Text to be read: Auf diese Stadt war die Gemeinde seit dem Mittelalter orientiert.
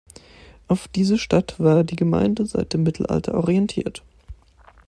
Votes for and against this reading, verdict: 2, 0, accepted